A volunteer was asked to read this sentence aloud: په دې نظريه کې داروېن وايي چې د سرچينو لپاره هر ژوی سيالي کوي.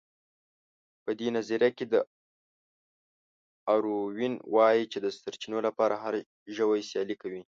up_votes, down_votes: 1, 2